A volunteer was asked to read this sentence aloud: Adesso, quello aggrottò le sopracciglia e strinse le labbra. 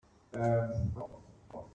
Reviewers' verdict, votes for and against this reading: rejected, 0, 2